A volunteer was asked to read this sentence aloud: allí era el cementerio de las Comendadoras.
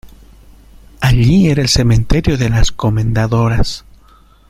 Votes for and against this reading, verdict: 2, 0, accepted